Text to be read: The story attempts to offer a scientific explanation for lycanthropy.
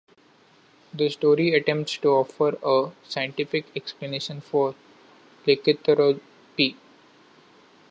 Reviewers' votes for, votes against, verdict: 0, 3, rejected